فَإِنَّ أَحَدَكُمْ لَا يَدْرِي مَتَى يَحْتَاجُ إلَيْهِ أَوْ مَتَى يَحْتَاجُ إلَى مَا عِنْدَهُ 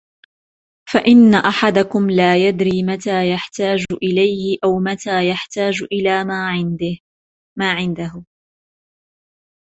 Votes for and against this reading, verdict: 1, 2, rejected